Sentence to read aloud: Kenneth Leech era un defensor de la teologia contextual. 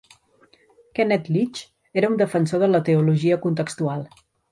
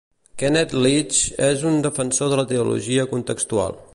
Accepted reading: first